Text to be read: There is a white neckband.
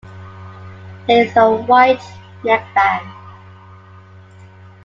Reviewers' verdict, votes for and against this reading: accepted, 2, 0